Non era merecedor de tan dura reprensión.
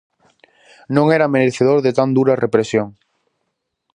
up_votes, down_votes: 0, 2